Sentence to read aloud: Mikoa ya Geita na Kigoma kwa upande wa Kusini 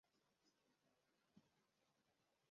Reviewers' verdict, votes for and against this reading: rejected, 0, 2